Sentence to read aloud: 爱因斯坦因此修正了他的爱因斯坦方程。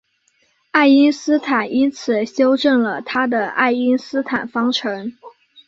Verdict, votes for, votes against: accepted, 3, 0